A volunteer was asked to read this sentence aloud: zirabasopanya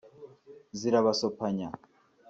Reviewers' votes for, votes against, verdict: 2, 0, accepted